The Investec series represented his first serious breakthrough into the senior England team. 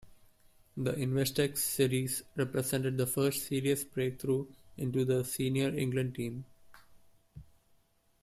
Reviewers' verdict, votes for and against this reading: rejected, 0, 2